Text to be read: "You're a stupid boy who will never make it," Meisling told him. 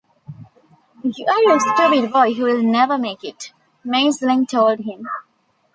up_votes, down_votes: 2, 0